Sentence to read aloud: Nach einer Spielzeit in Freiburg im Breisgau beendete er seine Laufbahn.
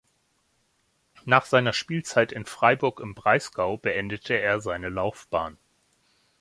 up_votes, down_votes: 1, 2